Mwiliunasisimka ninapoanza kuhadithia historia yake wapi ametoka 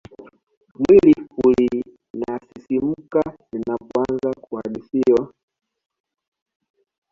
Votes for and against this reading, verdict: 0, 2, rejected